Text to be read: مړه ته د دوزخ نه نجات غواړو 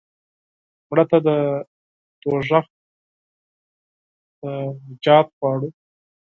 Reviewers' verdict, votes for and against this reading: rejected, 2, 4